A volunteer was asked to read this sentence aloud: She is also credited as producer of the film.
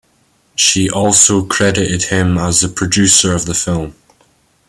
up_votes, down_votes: 1, 2